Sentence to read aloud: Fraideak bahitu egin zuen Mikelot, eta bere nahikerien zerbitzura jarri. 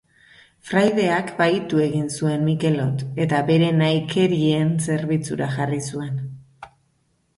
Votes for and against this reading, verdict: 0, 2, rejected